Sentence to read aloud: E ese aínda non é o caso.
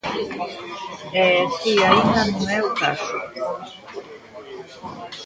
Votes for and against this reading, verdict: 2, 1, accepted